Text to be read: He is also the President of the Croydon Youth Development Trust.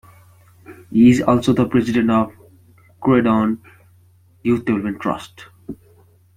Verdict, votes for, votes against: rejected, 0, 2